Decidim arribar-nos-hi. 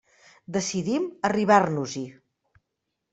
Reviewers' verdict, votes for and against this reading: accepted, 3, 0